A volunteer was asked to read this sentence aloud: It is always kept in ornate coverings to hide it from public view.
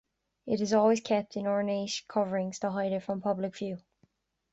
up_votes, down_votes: 1, 2